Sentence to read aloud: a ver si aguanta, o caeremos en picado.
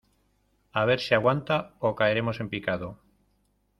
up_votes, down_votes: 2, 0